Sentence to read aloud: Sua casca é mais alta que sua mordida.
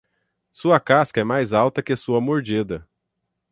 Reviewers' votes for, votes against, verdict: 6, 0, accepted